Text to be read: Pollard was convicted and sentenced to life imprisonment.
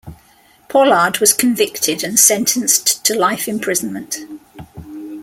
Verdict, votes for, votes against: accepted, 2, 0